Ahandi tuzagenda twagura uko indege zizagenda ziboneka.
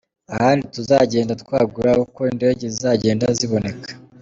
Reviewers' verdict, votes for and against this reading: accepted, 2, 0